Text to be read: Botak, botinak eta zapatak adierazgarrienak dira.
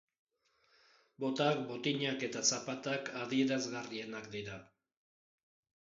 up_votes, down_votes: 4, 0